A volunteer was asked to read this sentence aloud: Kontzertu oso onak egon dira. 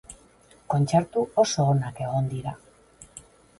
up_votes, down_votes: 4, 0